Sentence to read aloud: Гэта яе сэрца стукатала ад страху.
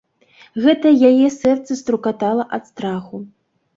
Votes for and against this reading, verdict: 1, 2, rejected